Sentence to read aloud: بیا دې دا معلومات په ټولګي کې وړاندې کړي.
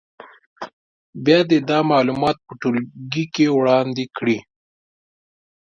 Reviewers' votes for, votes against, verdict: 2, 0, accepted